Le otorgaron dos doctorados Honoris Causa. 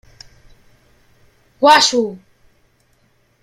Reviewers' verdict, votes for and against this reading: rejected, 0, 2